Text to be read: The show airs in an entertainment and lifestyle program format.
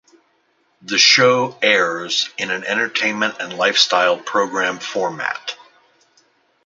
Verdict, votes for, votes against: accepted, 2, 0